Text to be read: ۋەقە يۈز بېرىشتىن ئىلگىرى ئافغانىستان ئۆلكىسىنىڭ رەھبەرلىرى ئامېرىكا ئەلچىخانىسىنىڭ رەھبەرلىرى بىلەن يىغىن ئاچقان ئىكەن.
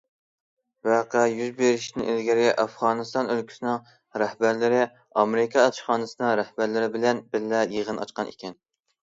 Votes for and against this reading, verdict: 0, 2, rejected